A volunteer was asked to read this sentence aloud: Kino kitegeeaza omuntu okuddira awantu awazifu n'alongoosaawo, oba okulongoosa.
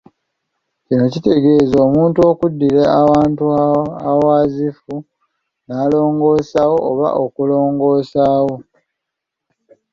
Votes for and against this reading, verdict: 0, 2, rejected